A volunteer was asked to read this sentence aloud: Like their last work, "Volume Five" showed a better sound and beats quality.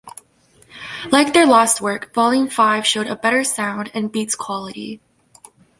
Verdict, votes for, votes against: accepted, 2, 0